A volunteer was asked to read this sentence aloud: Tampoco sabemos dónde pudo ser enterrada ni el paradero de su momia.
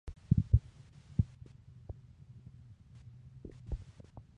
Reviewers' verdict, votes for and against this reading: accepted, 2, 0